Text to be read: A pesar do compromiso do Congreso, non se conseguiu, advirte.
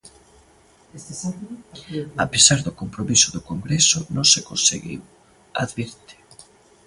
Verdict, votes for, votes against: rejected, 1, 2